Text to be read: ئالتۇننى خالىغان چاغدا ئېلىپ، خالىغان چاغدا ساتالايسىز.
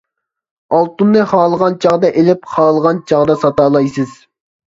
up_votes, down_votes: 2, 0